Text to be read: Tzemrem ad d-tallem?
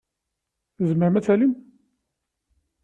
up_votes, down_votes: 2, 0